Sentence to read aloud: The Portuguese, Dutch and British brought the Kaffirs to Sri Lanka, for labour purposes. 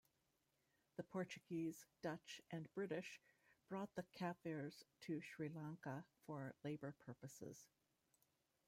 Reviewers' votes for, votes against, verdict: 1, 2, rejected